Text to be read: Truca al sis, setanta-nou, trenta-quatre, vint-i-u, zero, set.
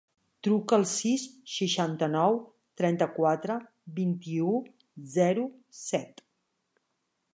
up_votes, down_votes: 2, 3